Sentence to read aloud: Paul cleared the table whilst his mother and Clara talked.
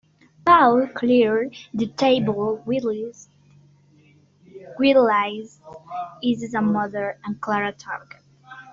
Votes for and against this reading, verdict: 0, 3, rejected